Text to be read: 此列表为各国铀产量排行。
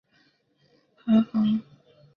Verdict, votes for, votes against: rejected, 0, 6